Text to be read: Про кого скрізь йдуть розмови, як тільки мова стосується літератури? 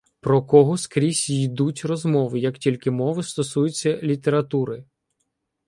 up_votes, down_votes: 0, 2